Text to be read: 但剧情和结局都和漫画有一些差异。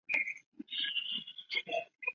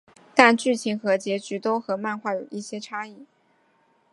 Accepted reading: second